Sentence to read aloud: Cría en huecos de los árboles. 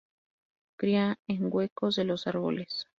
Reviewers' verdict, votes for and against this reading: rejected, 0, 2